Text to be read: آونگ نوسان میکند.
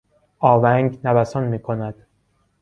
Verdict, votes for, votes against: accepted, 2, 0